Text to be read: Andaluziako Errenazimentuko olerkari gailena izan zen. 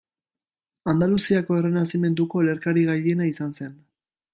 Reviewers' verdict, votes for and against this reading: accepted, 2, 0